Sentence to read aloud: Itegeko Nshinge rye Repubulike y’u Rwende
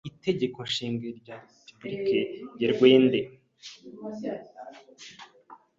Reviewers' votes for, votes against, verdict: 0, 2, rejected